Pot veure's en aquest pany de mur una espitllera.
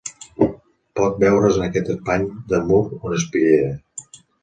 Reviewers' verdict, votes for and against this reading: rejected, 1, 2